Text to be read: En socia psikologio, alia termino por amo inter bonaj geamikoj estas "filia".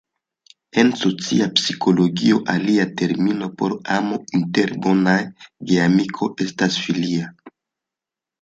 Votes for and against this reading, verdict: 0, 2, rejected